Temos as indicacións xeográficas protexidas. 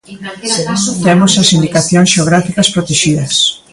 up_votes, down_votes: 0, 2